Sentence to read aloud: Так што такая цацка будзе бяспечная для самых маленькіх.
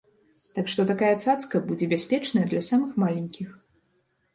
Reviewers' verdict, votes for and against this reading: rejected, 0, 3